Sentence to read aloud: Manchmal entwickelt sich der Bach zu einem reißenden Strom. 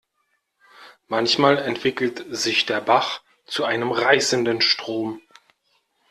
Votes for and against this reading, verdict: 2, 0, accepted